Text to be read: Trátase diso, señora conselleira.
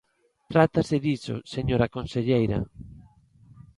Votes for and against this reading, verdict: 2, 0, accepted